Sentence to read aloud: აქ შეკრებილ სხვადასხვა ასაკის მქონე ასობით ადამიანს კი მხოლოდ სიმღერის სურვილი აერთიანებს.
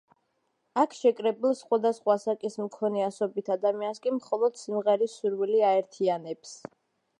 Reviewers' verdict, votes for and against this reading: accepted, 2, 0